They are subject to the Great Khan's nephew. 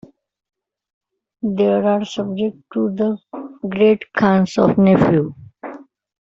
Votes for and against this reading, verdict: 0, 2, rejected